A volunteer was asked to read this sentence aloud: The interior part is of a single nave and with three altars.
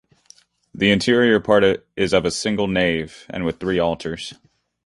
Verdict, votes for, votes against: accepted, 2, 0